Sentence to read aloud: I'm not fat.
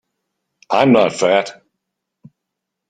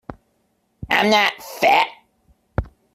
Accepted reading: first